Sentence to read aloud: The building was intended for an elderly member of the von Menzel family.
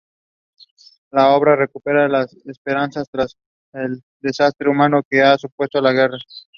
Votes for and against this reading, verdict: 0, 2, rejected